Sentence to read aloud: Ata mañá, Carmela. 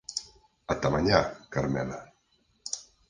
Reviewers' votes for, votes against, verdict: 4, 0, accepted